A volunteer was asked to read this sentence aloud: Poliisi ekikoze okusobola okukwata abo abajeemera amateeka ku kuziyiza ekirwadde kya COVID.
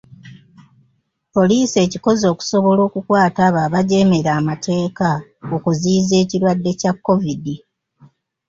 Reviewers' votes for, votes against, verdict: 0, 2, rejected